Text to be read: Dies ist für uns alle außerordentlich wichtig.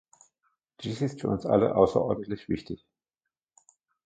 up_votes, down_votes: 2, 0